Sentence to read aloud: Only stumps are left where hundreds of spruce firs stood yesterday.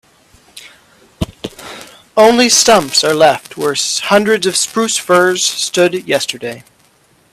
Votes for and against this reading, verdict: 1, 2, rejected